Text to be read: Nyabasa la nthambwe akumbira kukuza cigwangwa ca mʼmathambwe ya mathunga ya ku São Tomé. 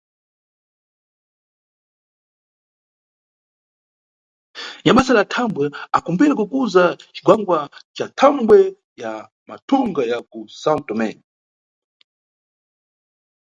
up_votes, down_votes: 1, 2